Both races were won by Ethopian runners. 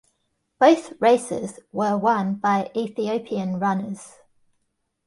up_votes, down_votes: 2, 1